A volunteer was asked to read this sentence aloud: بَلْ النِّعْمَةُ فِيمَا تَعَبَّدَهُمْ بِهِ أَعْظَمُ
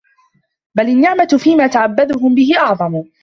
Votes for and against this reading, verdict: 1, 2, rejected